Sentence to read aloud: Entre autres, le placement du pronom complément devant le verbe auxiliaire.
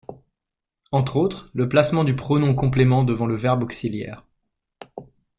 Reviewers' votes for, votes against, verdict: 2, 0, accepted